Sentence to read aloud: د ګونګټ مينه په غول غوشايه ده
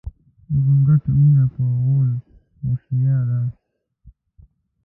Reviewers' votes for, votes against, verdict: 0, 2, rejected